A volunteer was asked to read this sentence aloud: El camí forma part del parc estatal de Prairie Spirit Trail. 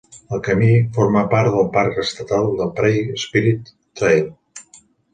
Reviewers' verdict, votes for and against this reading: accepted, 2, 0